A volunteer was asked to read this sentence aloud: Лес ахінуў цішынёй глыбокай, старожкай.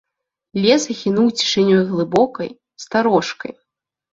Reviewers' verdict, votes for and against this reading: accepted, 3, 0